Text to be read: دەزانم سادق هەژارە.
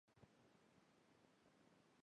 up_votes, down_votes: 0, 3